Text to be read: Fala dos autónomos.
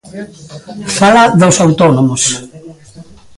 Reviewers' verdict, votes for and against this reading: rejected, 0, 2